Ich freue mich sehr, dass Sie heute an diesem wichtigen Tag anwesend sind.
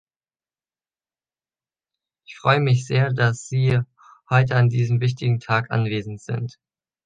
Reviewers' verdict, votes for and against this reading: accepted, 2, 1